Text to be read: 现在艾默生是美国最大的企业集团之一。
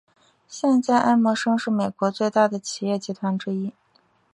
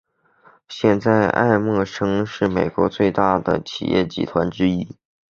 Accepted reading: first